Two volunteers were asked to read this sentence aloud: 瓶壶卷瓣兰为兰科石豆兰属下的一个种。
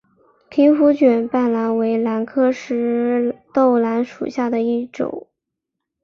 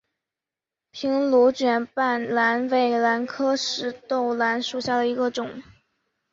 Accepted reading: second